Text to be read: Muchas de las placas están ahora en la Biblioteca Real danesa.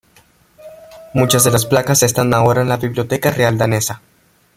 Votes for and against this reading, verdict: 2, 0, accepted